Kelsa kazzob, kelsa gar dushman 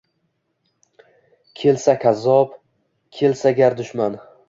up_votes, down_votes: 2, 0